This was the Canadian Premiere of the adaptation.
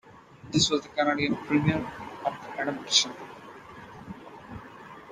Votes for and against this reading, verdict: 0, 2, rejected